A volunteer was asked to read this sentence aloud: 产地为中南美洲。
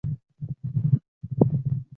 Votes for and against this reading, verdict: 3, 4, rejected